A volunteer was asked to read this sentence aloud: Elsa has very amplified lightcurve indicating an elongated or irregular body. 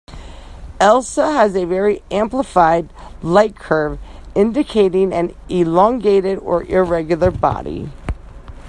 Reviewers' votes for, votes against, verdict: 2, 0, accepted